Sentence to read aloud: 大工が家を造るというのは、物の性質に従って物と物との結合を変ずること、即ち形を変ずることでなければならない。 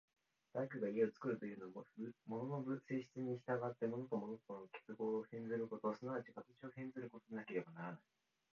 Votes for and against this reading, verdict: 1, 2, rejected